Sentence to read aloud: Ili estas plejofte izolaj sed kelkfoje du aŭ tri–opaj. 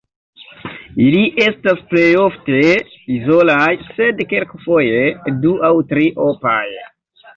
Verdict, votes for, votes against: accepted, 2, 1